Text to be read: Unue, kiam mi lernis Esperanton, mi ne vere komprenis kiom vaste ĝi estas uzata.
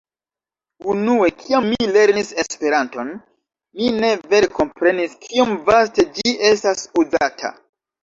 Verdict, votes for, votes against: accepted, 2, 1